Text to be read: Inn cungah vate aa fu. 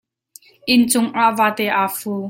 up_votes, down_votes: 2, 0